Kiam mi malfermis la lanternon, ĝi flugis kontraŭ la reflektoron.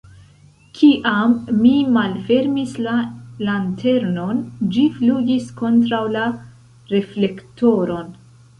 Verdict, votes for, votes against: rejected, 1, 2